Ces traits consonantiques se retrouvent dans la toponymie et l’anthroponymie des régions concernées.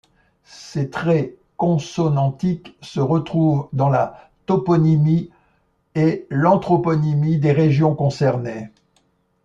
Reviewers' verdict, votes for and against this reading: accepted, 2, 1